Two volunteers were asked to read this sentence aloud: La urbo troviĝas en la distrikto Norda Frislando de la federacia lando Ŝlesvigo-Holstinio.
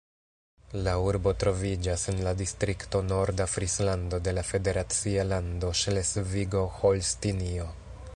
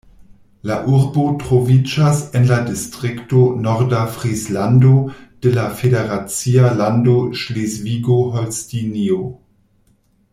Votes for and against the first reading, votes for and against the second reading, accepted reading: 2, 0, 1, 2, first